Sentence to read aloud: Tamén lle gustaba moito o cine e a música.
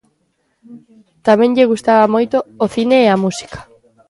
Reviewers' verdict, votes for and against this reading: accepted, 2, 0